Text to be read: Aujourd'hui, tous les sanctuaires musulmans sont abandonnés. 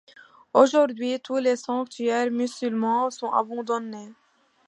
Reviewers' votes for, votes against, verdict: 2, 0, accepted